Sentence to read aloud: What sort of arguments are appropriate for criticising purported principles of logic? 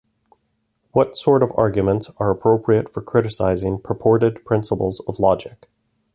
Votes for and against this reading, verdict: 2, 0, accepted